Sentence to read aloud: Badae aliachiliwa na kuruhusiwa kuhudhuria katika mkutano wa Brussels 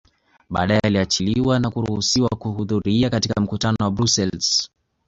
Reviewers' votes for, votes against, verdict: 2, 0, accepted